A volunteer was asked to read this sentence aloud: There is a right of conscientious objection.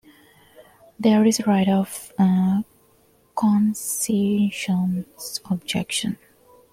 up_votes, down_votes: 0, 2